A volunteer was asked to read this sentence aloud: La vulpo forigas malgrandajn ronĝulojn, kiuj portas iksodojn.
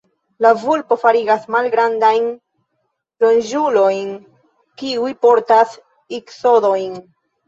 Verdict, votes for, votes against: accepted, 2, 1